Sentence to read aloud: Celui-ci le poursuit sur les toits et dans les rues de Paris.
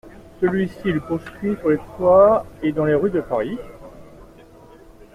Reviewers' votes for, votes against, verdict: 2, 1, accepted